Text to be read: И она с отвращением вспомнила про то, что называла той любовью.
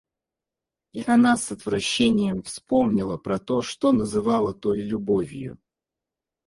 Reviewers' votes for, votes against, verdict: 0, 4, rejected